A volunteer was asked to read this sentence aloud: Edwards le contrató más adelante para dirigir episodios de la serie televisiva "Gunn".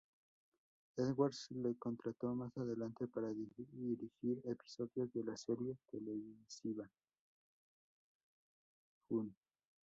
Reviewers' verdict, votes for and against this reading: rejected, 0, 2